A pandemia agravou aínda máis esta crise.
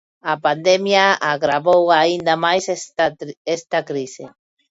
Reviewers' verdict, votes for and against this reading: rejected, 1, 2